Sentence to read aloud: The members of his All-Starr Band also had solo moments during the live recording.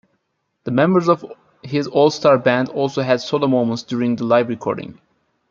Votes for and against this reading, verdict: 2, 0, accepted